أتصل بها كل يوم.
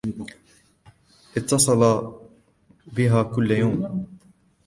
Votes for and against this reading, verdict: 1, 2, rejected